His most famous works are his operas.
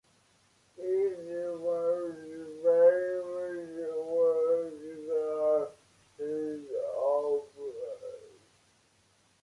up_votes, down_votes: 0, 2